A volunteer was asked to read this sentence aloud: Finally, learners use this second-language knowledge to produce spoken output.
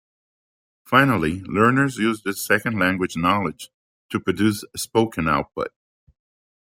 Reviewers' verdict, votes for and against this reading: accepted, 2, 0